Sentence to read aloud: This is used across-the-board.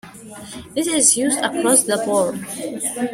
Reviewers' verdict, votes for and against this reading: accepted, 2, 0